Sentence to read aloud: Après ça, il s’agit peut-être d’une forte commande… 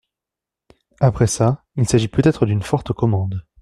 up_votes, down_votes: 2, 0